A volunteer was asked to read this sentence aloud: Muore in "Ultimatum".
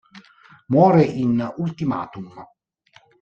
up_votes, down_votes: 2, 0